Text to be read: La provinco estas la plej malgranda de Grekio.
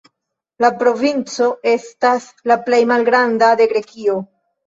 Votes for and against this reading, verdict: 1, 2, rejected